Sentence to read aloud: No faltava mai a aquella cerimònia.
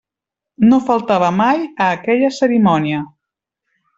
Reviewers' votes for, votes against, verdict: 3, 0, accepted